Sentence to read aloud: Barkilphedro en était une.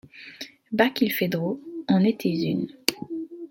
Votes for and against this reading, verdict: 2, 0, accepted